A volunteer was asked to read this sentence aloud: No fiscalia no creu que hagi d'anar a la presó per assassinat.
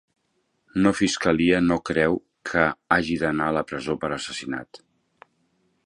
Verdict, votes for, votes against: accepted, 4, 0